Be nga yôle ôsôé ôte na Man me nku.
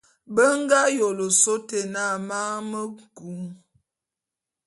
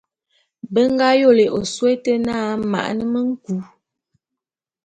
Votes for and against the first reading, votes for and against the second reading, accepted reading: 2, 0, 0, 2, first